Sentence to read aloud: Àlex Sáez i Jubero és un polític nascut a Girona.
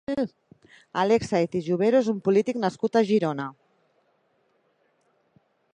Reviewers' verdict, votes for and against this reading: rejected, 0, 2